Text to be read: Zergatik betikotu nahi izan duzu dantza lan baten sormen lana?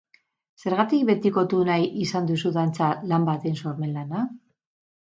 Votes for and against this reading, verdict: 2, 2, rejected